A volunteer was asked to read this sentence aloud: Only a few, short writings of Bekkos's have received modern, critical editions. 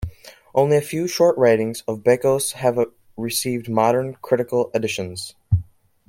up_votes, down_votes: 1, 2